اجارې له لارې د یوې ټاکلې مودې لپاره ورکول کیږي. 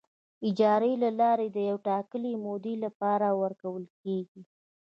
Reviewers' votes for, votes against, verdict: 1, 2, rejected